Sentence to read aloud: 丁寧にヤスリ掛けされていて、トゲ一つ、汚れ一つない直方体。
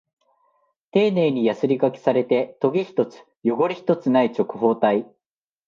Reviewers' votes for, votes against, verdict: 1, 2, rejected